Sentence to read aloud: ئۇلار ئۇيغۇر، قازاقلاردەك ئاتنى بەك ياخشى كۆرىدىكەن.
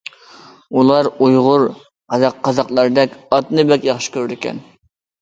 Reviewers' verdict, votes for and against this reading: rejected, 0, 2